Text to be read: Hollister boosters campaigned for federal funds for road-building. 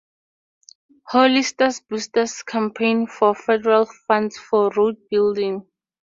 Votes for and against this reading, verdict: 4, 2, accepted